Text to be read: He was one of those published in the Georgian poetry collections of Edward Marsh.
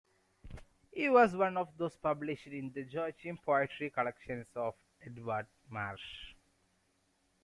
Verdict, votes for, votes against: accepted, 2, 0